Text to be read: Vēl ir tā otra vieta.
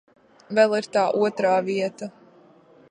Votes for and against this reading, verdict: 2, 5, rejected